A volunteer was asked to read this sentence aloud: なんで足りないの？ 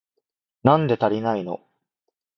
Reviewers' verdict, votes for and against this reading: accepted, 2, 0